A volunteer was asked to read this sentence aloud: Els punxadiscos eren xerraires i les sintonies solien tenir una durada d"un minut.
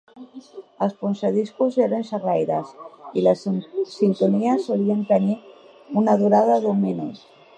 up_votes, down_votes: 1, 2